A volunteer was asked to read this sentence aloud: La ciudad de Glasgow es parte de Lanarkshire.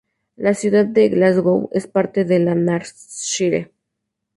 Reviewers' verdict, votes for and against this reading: rejected, 0, 2